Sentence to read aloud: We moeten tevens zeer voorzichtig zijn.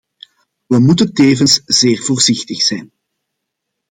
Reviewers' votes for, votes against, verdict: 2, 0, accepted